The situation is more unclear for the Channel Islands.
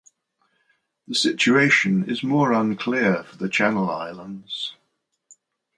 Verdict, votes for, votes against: accepted, 2, 0